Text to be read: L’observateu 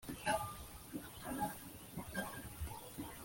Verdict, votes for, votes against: rejected, 0, 2